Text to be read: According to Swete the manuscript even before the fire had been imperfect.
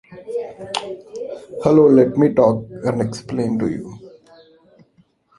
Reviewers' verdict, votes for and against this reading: rejected, 0, 2